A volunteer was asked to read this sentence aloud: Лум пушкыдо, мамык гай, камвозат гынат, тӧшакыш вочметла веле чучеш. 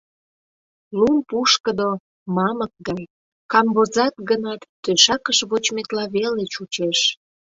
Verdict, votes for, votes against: accepted, 2, 0